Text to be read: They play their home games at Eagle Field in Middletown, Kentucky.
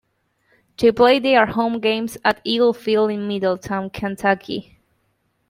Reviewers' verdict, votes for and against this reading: accepted, 2, 0